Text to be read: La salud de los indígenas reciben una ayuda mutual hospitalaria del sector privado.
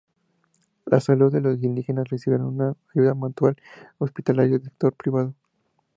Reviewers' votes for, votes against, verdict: 4, 2, accepted